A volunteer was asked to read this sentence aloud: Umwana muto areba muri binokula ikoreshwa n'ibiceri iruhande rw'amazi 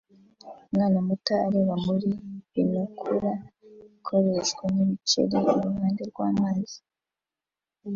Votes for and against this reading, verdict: 2, 0, accepted